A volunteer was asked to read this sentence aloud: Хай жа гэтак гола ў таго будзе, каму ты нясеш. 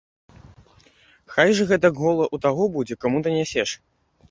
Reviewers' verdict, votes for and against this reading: rejected, 1, 2